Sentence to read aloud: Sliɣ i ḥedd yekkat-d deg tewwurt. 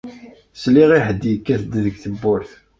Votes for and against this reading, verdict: 2, 0, accepted